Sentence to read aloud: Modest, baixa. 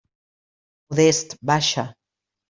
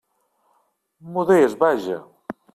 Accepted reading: first